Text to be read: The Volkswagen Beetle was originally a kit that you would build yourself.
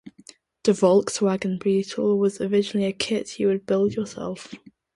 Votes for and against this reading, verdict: 1, 2, rejected